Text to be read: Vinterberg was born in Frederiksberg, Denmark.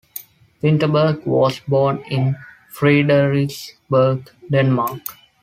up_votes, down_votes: 2, 0